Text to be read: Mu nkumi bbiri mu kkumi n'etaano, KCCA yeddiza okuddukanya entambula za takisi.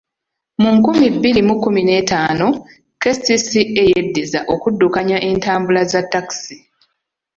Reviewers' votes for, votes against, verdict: 2, 1, accepted